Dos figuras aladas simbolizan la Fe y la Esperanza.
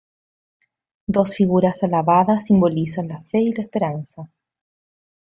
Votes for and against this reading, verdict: 0, 2, rejected